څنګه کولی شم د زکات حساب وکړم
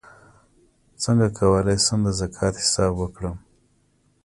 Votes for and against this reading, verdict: 2, 0, accepted